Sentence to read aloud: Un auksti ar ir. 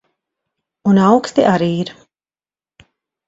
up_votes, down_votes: 0, 2